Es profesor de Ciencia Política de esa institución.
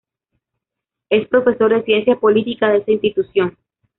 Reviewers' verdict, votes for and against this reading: accepted, 2, 0